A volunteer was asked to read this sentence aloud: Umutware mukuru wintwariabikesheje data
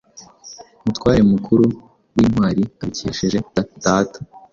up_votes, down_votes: 2, 0